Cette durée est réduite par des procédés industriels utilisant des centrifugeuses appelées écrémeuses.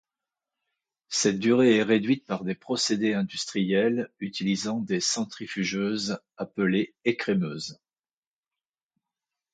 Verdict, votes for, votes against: accepted, 2, 0